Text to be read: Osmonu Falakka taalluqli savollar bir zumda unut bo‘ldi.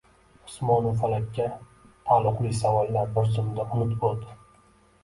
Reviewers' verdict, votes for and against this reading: rejected, 1, 2